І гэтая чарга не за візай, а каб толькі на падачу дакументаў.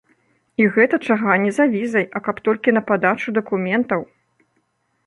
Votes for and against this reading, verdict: 0, 2, rejected